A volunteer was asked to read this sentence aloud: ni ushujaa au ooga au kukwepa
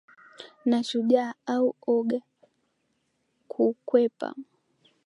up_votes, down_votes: 0, 2